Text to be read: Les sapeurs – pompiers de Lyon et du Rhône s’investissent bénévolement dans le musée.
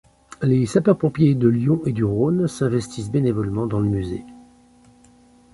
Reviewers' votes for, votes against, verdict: 2, 0, accepted